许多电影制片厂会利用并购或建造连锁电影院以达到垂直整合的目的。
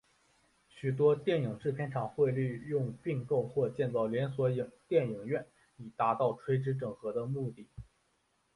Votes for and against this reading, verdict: 3, 1, accepted